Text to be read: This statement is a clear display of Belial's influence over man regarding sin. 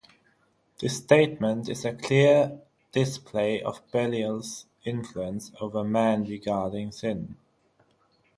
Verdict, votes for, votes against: accepted, 6, 0